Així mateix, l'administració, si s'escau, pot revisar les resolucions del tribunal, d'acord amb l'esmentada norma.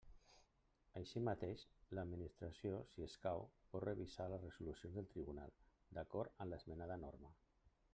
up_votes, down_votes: 1, 2